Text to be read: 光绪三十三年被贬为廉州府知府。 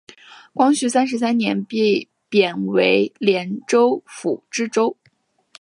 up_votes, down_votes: 6, 1